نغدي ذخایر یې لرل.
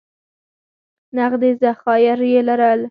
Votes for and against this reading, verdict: 2, 4, rejected